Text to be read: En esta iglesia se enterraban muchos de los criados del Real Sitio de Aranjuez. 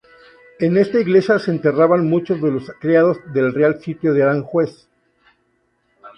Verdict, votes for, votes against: rejected, 0, 2